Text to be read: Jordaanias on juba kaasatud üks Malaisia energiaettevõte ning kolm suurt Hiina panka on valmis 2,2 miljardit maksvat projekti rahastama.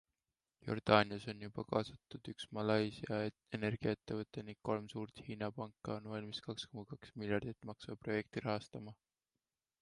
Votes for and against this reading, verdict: 0, 2, rejected